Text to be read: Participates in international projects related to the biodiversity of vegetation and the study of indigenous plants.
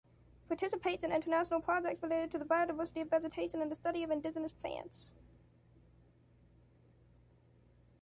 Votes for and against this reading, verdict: 0, 2, rejected